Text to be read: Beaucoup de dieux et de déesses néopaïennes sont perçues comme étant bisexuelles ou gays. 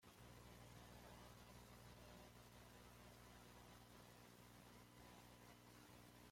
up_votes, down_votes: 0, 2